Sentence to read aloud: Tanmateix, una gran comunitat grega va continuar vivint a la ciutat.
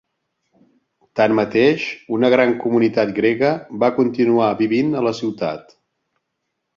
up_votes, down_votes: 3, 0